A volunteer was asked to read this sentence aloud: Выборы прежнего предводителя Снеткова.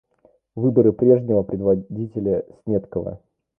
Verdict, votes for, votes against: accepted, 2, 1